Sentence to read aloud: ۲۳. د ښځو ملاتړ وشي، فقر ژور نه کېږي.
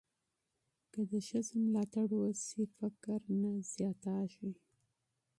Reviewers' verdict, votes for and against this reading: rejected, 0, 2